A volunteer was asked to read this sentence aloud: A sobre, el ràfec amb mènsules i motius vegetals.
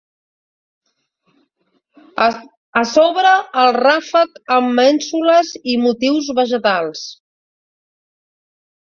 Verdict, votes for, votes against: rejected, 0, 2